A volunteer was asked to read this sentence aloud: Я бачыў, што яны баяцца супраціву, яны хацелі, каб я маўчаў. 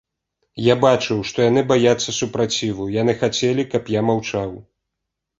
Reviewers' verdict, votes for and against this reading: accepted, 2, 0